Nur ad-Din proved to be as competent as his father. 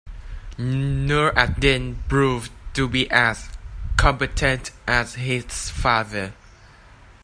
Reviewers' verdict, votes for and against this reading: accepted, 2, 0